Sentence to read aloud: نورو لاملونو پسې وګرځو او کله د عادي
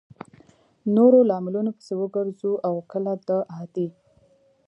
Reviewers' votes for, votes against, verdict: 2, 1, accepted